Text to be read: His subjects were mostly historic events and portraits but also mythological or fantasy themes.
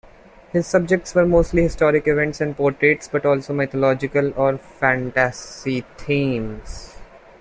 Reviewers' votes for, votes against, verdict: 0, 2, rejected